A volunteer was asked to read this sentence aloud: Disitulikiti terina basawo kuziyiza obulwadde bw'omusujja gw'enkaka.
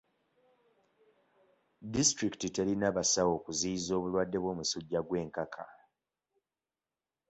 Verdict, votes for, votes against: accepted, 2, 0